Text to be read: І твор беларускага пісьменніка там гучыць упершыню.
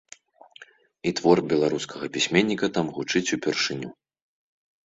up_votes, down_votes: 2, 0